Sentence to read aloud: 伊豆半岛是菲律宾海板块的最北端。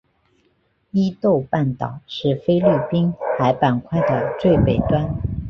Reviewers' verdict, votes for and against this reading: accepted, 2, 1